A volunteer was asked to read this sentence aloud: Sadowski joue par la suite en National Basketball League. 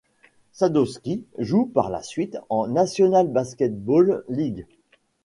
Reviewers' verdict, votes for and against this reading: accepted, 2, 1